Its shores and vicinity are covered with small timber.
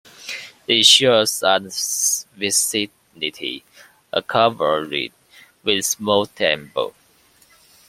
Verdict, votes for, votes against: rejected, 0, 2